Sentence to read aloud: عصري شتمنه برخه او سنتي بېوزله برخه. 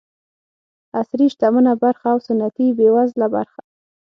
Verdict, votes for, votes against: accepted, 6, 0